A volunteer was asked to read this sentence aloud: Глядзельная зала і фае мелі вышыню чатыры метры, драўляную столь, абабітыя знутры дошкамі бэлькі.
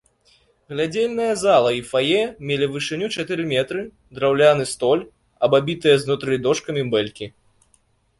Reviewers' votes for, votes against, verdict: 0, 2, rejected